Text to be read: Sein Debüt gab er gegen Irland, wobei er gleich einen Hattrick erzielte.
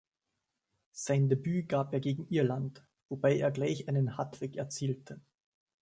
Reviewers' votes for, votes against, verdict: 2, 0, accepted